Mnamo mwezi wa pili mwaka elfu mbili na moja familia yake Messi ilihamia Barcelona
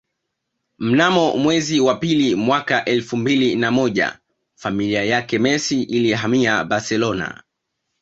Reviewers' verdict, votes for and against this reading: accepted, 2, 0